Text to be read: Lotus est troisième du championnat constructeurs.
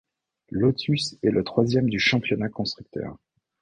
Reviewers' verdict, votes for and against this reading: rejected, 0, 2